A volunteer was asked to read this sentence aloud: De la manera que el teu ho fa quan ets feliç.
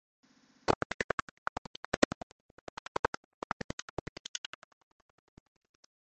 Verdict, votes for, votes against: rejected, 0, 2